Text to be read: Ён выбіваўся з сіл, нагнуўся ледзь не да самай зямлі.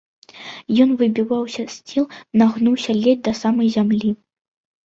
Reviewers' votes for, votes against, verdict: 1, 2, rejected